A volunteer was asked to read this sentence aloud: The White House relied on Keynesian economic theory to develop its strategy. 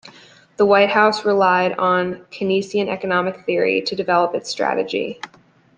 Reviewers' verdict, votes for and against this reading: accepted, 2, 0